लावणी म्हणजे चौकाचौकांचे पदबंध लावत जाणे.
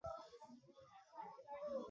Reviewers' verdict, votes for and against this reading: rejected, 0, 2